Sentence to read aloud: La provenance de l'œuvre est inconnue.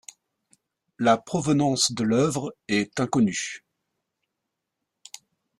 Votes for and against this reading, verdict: 2, 0, accepted